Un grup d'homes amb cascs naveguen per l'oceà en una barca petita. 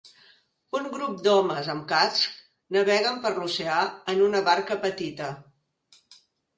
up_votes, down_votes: 4, 1